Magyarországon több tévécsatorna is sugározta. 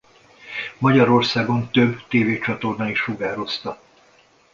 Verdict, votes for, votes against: accepted, 2, 0